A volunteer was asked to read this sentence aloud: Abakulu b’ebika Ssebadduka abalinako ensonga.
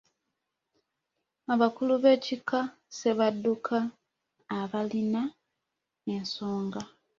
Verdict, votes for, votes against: rejected, 0, 2